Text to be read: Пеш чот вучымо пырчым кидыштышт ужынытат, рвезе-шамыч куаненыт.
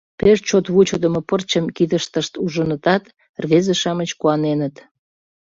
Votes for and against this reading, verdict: 0, 2, rejected